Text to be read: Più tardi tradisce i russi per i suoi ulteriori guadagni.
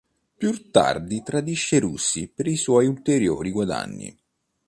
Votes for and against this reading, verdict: 2, 0, accepted